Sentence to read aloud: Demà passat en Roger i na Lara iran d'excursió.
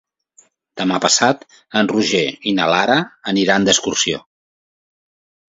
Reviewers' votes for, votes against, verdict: 0, 2, rejected